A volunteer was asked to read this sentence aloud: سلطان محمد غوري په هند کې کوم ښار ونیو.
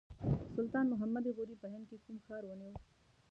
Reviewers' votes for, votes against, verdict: 1, 2, rejected